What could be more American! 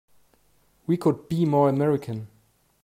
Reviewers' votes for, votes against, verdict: 0, 3, rejected